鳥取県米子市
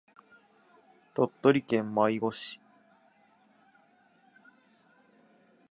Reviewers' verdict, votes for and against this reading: rejected, 2, 2